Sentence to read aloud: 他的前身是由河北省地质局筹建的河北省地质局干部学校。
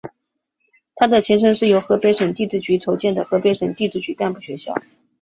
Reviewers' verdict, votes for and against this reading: accepted, 2, 0